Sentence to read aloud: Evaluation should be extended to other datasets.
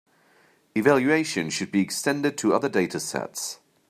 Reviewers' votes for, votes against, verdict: 2, 0, accepted